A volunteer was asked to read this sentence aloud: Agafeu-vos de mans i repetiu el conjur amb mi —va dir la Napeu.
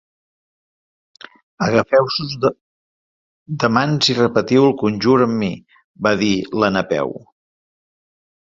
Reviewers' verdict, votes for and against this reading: rejected, 0, 2